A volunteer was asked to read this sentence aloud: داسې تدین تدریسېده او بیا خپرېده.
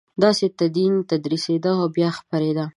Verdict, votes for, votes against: accepted, 5, 0